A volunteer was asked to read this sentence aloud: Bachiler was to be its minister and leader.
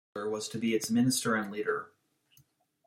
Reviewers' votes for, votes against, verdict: 1, 2, rejected